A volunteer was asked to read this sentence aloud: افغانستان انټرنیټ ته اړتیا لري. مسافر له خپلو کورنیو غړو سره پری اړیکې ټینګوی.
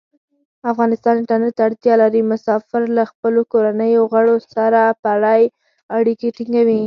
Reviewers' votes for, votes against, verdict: 4, 0, accepted